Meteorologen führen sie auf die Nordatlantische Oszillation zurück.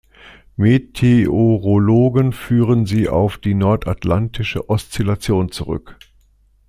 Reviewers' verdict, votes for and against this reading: accepted, 2, 1